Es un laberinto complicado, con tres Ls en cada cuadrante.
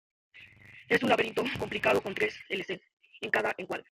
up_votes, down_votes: 1, 2